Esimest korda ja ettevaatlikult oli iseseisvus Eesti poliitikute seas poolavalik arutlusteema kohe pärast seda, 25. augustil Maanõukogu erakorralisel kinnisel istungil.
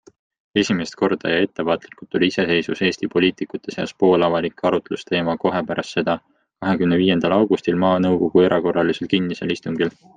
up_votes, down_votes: 0, 2